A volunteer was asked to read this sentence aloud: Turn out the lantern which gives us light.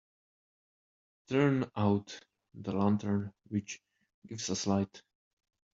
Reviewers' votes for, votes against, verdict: 2, 0, accepted